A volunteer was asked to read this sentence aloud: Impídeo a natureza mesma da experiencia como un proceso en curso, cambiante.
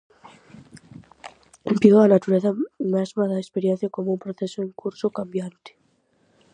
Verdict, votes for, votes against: rejected, 0, 4